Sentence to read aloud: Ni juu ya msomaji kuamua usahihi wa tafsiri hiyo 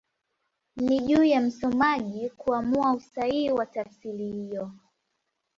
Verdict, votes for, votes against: accepted, 2, 1